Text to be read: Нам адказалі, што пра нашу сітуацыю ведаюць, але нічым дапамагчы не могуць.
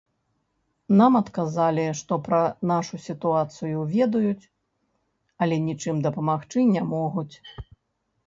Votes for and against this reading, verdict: 2, 0, accepted